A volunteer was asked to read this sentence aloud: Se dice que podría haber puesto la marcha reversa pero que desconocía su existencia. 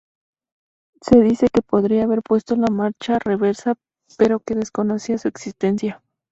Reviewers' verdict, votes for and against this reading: accepted, 2, 0